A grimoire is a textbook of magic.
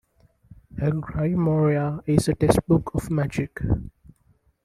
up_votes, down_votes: 1, 2